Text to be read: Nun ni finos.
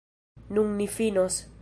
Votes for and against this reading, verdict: 2, 0, accepted